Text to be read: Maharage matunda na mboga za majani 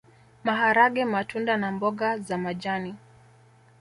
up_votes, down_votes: 2, 0